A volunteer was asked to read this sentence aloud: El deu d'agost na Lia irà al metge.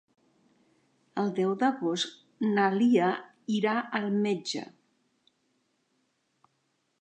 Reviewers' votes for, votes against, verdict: 3, 0, accepted